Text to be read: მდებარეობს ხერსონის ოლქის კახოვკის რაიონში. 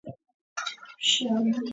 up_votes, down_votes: 0, 2